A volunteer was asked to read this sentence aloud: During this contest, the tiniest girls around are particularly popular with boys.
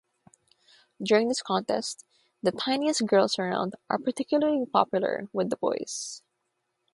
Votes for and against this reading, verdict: 0, 3, rejected